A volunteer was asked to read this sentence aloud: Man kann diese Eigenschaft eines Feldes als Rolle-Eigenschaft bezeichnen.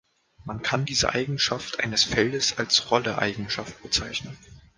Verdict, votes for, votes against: accepted, 2, 0